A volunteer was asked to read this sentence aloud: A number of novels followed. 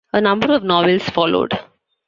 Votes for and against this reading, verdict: 2, 1, accepted